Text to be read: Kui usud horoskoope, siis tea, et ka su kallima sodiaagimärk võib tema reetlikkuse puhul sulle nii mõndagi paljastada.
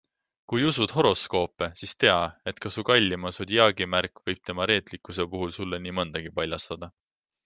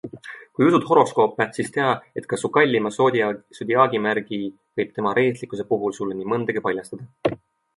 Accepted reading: first